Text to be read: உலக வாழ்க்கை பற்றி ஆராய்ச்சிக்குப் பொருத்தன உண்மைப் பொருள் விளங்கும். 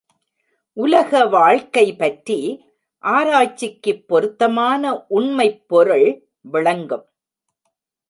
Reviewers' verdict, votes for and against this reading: rejected, 1, 2